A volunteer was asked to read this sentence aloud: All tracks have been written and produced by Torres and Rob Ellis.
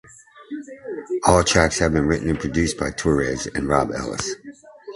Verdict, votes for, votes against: accepted, 2, 0